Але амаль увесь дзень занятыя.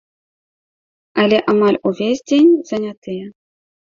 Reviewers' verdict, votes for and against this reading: accepted, 2, 0